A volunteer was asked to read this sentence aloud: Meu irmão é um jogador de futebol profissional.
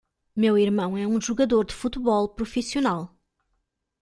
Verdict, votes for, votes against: accepted, 2, 0